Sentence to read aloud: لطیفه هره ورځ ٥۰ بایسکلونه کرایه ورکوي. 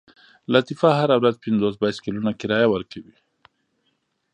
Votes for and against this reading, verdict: 0, 2, rejected